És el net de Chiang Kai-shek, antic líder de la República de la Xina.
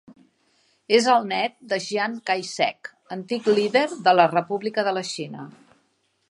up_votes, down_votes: 2, 0